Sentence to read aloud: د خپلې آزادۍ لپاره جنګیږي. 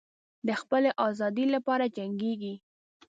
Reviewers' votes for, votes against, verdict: 2, 0, accepted